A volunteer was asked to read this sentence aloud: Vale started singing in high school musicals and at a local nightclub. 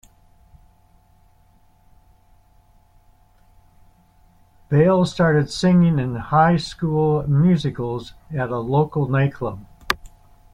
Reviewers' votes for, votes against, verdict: 1, 2, rejected